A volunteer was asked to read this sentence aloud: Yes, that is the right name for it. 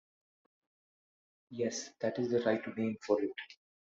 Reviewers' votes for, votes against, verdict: 3, 0, accepted